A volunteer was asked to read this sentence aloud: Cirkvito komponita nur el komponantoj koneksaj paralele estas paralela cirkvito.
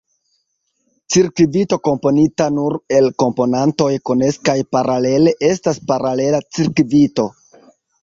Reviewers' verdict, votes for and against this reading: rejected, 0, 2